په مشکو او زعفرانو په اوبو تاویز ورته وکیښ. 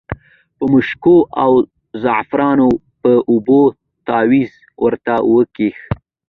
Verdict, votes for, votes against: accepted, 2, 1